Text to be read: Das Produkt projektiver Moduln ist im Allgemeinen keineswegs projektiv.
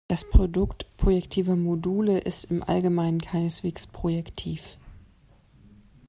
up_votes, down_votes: 0, 2